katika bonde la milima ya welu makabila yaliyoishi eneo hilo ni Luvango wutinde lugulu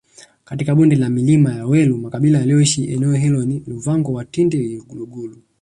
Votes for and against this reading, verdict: 7, 0, accepted